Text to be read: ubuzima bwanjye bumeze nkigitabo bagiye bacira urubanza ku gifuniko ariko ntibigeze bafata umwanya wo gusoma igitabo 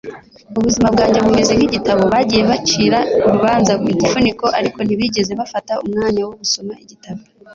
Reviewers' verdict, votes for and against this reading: accepted, 2, 0